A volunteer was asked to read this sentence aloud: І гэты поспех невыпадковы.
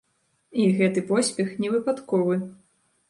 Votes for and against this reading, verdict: 2, 0, accepted